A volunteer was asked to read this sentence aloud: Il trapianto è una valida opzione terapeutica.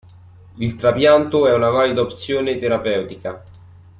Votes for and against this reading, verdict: 2, 0, accepted